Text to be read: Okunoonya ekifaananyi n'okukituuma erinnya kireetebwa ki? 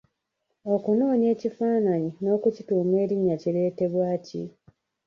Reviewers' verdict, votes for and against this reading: rejected, 1, 2